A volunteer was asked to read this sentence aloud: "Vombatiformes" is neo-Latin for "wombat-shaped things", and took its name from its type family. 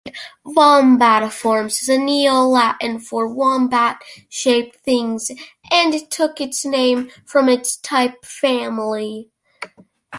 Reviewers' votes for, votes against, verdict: 2, 1, accepted